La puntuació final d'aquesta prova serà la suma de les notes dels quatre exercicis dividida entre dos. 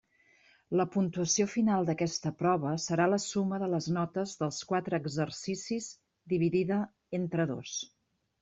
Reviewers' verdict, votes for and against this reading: accepted, 3, 0